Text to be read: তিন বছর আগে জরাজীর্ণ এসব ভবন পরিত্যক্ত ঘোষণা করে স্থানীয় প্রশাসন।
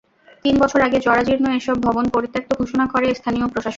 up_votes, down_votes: 0, 2